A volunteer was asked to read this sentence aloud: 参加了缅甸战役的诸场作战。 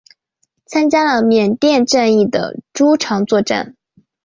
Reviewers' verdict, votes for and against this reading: accepted, 2, 0